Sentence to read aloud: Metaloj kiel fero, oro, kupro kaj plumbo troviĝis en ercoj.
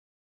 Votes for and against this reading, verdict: 1, 2, rejected